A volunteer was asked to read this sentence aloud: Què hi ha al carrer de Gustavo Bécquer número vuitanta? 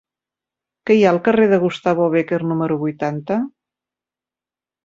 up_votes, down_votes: 4, 0